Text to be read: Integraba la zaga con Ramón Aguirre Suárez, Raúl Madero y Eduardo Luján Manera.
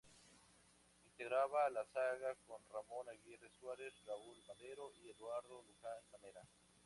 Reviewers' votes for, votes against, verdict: 2, 0, accepted